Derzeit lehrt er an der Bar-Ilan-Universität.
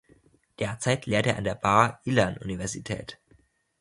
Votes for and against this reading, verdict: 2, 0, accepted